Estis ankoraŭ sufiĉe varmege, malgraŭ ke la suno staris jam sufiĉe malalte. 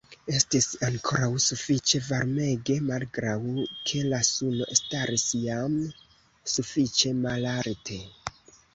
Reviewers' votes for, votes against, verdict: 2, 0, accepted